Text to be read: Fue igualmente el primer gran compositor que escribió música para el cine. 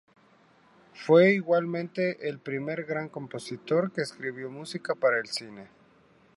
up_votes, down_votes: 2, 0